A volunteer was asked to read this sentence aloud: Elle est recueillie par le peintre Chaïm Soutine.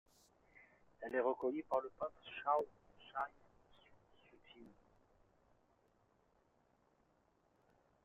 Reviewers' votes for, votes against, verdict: 1, 2, rejected